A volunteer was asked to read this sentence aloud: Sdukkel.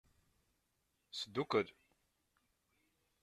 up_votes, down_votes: 2, 0